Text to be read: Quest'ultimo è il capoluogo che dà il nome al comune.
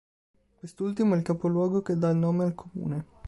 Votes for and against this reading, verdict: 2, 1, accepted